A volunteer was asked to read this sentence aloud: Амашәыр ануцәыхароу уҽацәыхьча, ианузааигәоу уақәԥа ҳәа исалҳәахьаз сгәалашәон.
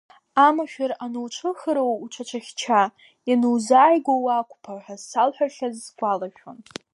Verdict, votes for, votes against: rejected, 1, 2